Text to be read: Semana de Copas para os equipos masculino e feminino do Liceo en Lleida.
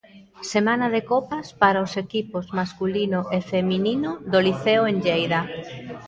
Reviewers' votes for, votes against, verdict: 2, 0, accepted